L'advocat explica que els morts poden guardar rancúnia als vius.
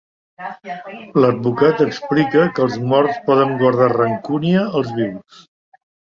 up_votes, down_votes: 1, 2